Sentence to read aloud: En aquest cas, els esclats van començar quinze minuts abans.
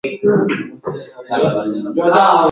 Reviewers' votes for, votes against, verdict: 0, 2, rejected